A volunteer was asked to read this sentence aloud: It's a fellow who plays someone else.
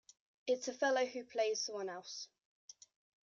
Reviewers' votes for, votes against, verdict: 2, 0, accepted